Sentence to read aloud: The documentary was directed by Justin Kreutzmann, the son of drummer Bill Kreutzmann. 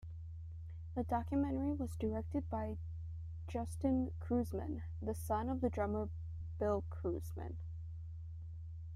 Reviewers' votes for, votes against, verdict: 1, 2, rejected